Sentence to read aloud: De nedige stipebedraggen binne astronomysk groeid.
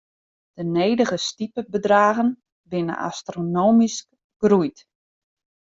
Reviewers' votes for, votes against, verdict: 0, 2, rejected